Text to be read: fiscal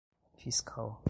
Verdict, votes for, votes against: rejected, 1, 2